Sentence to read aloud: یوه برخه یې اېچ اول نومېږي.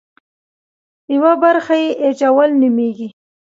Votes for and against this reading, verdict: 2, 0, accepted